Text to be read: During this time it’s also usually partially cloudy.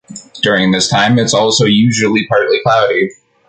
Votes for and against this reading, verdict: 1, 3, rejected